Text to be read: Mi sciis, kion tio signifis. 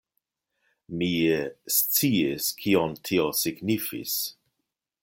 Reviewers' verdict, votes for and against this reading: accepted, 2, 1